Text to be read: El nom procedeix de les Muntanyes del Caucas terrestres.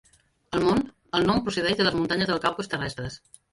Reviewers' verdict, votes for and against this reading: rejected, 0, 2